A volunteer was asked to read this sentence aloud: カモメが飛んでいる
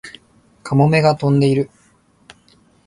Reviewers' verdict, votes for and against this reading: accepted, 38, 3